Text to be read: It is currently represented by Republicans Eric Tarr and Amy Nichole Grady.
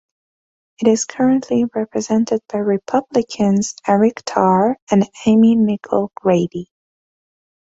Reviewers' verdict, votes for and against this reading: accepted, 2, 0